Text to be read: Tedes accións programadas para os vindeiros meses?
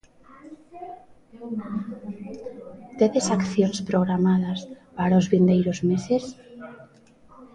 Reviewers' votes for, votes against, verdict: 1, 2, rejected